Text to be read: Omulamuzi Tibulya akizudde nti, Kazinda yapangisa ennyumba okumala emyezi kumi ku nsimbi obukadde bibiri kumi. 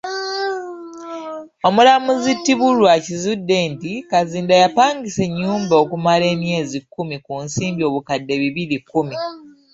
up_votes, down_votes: 1, 2